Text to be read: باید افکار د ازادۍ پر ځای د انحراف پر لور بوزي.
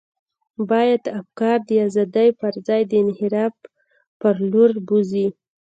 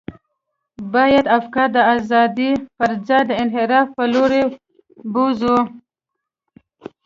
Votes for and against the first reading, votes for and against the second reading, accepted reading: 2, 0, 0, 2, first